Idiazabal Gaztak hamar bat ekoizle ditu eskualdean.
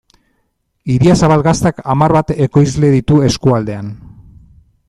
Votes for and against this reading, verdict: 2, 0, accepted